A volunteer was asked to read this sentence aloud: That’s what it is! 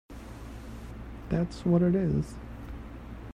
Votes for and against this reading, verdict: 1, 2, rejected